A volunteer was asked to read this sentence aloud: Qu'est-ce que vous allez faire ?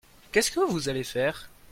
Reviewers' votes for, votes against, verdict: 2, 0, accepted